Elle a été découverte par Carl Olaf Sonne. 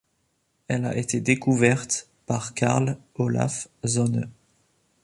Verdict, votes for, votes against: accepted, 2, 0